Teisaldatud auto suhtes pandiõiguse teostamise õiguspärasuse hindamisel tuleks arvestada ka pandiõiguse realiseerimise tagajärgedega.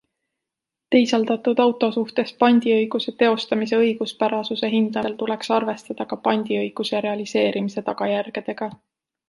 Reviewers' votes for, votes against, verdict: 1, 2, rejected